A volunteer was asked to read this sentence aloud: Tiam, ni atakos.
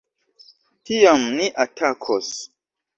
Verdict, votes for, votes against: accepted, 2, 1